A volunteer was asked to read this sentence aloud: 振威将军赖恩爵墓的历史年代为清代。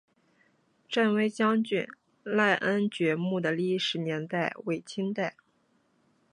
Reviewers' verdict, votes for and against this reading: accepted, 2, 0